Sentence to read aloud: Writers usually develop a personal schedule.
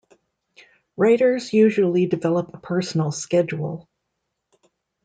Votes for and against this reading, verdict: 2, 0, accepted